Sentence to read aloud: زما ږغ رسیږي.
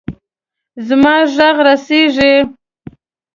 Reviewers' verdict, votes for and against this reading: accepted, 2, 0